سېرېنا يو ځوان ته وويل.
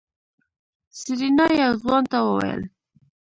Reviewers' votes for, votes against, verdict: 3, 0, accepted